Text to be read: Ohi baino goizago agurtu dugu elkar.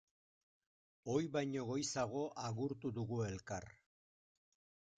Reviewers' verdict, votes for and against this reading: accepted, 2, 0